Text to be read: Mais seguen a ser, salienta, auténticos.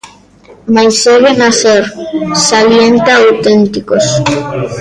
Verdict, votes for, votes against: rejected, 1, 2